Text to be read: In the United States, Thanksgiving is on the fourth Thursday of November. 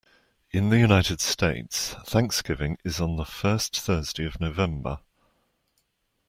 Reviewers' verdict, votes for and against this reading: accepted, 2, 1